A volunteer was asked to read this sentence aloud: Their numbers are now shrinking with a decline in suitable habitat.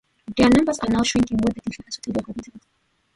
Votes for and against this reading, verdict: 0, 2, rejected